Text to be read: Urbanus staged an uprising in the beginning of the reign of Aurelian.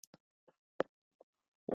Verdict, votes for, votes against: rejected, 0, 2